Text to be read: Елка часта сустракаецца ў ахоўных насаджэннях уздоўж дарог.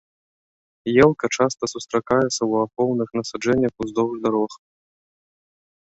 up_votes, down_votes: 2, 1